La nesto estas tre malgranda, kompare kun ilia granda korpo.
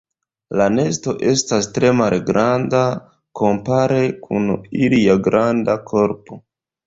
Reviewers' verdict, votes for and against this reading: rejected, 1, 2